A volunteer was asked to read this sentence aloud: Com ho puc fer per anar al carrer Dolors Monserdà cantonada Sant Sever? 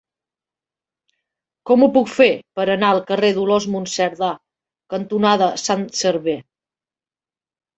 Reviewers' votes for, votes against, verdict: 0, 2, rejected